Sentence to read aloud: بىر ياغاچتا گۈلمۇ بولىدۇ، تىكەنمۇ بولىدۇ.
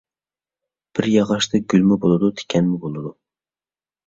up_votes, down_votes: 2, 0